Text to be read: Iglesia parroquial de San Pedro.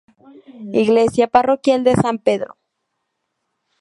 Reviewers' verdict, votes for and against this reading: accepted, 2, 0